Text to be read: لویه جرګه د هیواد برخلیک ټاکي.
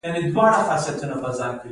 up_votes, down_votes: 1, 2